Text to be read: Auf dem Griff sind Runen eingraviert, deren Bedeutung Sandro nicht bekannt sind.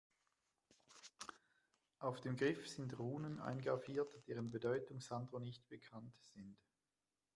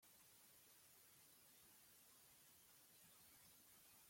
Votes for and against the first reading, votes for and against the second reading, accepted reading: 2, 0, 0, 2, first